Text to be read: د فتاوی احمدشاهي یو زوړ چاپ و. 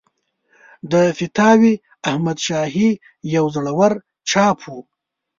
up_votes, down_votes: 1, 2